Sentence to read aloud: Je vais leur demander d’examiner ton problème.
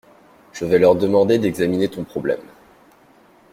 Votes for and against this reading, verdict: 2, 0, accepted